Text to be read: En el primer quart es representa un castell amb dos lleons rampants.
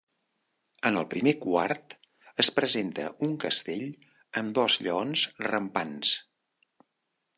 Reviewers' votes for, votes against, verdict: 0, 2, rejected